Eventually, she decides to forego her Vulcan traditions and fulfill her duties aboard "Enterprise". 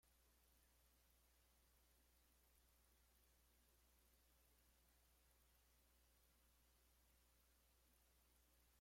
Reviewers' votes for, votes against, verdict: 0, 2, rejected